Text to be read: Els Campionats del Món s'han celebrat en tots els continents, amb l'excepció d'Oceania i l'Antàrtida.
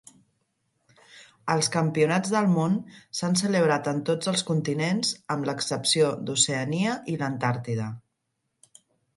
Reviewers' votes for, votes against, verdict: 5, 0, accepted